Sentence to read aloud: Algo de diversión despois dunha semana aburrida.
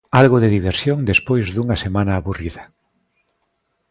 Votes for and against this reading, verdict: 2, 0, accepted